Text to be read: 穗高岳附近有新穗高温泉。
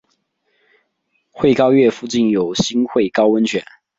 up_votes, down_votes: 2, 0